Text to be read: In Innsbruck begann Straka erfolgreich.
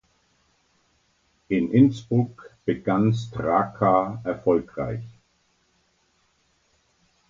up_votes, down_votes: 2, 0